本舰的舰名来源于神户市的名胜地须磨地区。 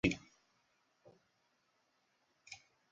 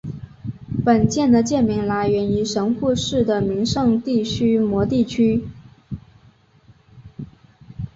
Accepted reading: second